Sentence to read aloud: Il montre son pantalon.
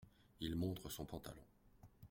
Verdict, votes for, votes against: accepted, 2, 0